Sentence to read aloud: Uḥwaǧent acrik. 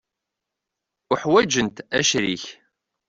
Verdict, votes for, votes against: accepted, 2, 0